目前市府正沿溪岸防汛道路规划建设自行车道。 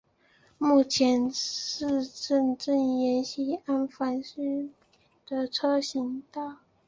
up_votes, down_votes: 1, 2